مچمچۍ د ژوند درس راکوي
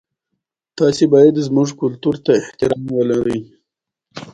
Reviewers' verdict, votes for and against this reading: rejected, 0, 2